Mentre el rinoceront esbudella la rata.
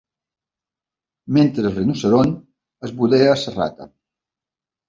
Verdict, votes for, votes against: rejected, 1, 2